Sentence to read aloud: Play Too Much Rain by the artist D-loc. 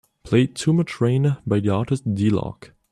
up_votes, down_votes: 2, 1